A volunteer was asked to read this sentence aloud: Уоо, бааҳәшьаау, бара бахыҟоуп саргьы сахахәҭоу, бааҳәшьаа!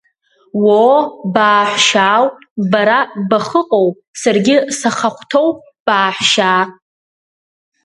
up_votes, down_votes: 2, 0